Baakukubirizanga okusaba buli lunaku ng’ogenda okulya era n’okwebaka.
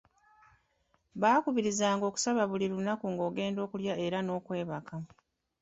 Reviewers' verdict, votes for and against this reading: rejected, 1, 2